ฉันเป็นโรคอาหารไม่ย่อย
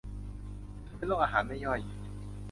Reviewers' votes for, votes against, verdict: 0, 2, rejected